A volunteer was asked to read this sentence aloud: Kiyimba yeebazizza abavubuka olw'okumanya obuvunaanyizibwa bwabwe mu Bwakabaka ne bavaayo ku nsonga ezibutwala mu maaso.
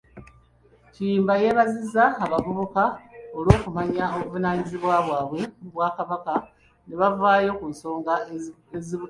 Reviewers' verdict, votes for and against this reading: rejected, 1, 2